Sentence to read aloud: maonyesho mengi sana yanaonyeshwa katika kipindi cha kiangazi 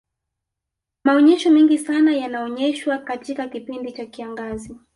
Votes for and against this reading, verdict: 1, 2, rejected